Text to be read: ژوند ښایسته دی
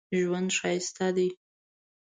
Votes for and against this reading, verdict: 2, 0, accepted